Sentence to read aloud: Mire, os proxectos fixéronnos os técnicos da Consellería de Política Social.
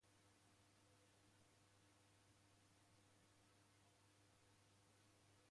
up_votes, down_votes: 0, 2